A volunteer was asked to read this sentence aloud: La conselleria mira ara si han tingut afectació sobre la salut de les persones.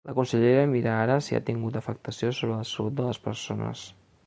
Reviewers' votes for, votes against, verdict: 1, 2, rejected